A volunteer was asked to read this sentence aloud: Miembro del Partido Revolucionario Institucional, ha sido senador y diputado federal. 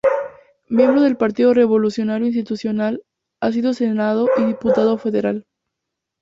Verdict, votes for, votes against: rejected, 0, 2